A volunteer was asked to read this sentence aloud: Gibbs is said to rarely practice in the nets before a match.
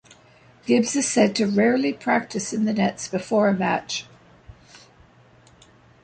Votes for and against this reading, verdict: 2, 0, accepted